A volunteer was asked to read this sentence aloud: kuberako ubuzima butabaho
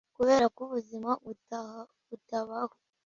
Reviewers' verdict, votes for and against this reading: rejected, 0, 2